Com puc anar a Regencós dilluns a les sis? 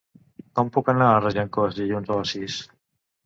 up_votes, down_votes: 2, 0